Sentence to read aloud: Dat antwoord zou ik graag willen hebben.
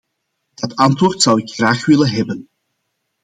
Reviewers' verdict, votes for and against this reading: accepted, 2, 0